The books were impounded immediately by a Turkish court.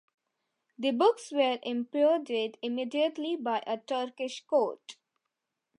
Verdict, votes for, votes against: rejected, 0, 2